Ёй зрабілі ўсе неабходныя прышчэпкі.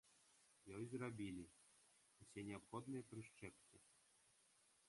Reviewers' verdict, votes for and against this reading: rejected, 1, 2